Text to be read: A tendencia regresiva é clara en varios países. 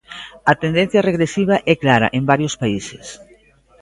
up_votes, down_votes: 2, 0